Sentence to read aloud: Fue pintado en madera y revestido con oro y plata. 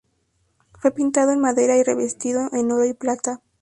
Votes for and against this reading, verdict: 4, 0, accepted